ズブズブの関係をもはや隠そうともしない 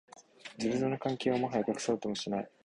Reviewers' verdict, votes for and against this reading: accepted, 2, 0